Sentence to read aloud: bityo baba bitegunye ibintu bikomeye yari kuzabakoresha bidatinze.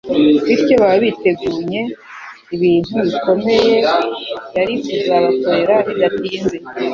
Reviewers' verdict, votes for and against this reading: accepted, 3, 0